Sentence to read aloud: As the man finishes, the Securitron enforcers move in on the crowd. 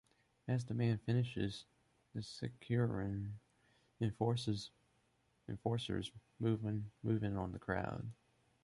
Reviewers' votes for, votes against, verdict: 1, 2, rejected